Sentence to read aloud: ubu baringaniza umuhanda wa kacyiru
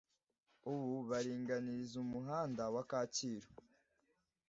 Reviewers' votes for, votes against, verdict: 2, 1, accepted